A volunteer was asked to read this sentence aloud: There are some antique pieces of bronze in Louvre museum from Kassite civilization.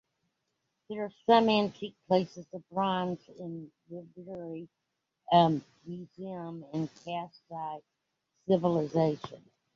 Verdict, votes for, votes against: rejected, 0, 2